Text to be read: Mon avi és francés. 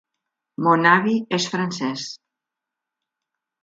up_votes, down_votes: 3, 0